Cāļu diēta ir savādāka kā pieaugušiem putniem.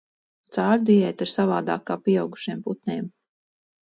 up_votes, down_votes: 2, 2